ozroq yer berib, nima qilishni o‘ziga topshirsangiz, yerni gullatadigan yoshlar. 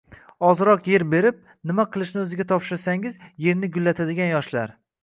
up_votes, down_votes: 2, 1